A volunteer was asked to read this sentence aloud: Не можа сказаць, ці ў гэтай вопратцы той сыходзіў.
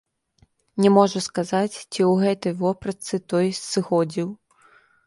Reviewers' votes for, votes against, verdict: 1, 2, rejected